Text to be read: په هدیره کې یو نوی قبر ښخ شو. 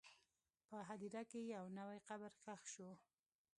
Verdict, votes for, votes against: rejected, 0, 2